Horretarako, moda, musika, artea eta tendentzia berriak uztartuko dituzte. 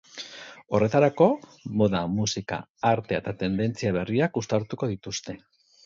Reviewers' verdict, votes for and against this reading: accepted, 6, 0